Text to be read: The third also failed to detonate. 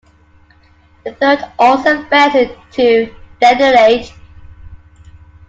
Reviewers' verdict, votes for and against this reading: accepted, 2, 1